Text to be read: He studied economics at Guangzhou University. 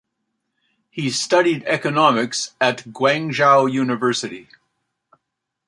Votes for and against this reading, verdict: 2, 0, accepted